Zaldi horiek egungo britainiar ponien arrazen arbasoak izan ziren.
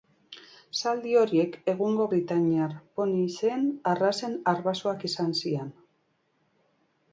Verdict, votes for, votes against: rejected, 1, 2